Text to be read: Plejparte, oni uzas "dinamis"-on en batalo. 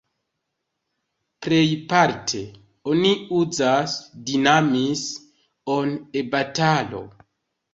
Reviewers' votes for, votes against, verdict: 2, 0, accepted